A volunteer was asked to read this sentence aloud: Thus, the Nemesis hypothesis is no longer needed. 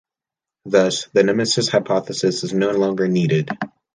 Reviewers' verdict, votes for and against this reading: accepted, 2, 1